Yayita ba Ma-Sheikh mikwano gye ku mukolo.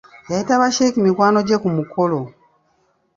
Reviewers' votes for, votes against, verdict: 0, 2, rejected